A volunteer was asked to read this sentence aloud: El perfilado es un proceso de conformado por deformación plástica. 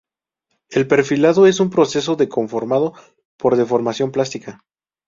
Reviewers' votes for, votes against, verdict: 0, 2, rejected